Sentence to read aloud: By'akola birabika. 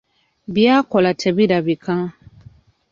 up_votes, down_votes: 0, 2